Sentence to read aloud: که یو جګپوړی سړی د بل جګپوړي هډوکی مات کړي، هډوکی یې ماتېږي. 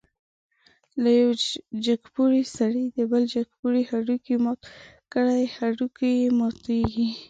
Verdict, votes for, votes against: accepted, 2, 1